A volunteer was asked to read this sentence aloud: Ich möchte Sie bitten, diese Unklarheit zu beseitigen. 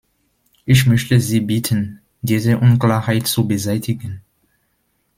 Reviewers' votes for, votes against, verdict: 2, 0, accepted